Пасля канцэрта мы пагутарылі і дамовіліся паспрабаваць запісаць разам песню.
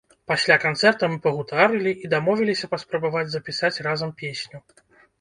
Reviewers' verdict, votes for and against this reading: rejected, 0, 2